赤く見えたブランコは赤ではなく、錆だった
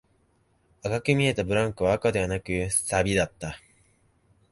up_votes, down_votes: 2, 1